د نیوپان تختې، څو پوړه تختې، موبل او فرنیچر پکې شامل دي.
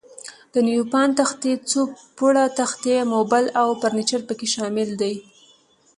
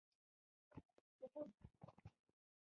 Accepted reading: first